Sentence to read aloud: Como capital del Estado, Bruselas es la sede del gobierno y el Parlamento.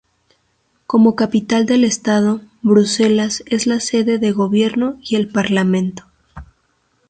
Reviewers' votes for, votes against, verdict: 0, 2, rejected